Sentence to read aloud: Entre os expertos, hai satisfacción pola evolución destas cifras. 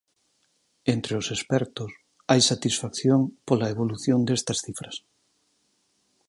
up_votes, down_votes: 4, 0